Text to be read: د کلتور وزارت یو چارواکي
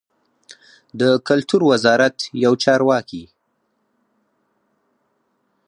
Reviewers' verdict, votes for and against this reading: accepted, 4, 0